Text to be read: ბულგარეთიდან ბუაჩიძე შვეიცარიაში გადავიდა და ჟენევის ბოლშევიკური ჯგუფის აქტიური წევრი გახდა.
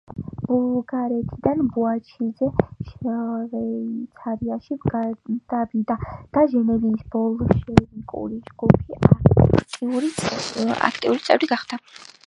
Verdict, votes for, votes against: rejected, 0, 2